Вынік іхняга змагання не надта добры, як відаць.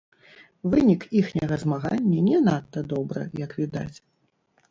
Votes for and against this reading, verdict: 0, 2, rejected